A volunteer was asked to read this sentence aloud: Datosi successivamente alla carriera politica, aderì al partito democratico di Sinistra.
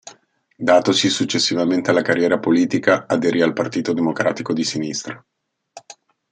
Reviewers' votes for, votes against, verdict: 2, 0, accepted